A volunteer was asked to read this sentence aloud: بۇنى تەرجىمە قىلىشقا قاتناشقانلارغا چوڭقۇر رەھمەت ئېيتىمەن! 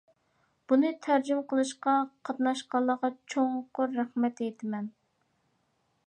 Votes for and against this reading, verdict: 2, 1, accepted